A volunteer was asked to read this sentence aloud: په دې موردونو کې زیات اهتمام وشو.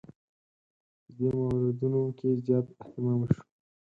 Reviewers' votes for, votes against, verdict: 0, 4, rejected